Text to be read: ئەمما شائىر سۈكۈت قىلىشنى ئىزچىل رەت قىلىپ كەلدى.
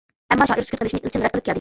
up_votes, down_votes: 0, 2